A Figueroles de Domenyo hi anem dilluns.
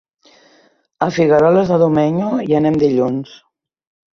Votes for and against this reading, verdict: 3, 0, accepted